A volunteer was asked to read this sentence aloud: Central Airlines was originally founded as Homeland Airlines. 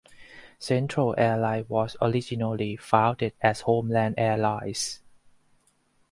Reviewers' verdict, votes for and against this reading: rejected, 0, 4